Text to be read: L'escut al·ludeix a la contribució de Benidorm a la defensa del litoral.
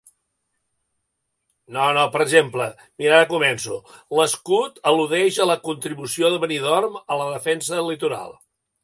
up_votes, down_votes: 0, 3